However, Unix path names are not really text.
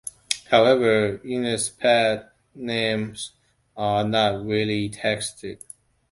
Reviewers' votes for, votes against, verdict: 0, 2, rejected